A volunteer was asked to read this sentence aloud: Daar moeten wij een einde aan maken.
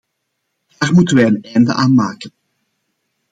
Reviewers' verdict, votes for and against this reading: rejected, 1, 2